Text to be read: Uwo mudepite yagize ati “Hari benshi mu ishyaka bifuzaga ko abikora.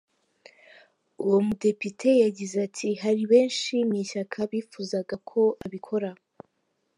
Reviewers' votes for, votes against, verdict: 3, 0, accepted